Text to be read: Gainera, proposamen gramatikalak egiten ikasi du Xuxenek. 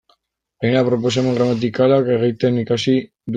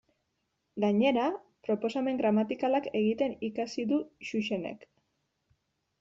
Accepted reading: second